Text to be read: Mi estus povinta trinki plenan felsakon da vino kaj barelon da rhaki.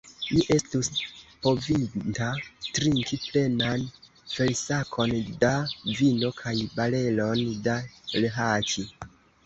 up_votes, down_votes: 1, 2